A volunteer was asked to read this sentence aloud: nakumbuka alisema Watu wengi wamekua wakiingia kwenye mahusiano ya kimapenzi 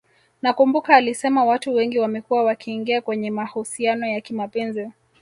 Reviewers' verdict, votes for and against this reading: rejected, 0, 2